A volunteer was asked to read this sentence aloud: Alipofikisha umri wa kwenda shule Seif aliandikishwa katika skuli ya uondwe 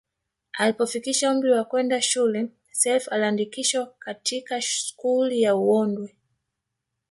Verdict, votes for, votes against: rejected, 1, 3